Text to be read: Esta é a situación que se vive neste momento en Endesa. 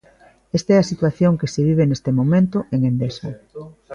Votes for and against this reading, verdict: 2, 0, accepted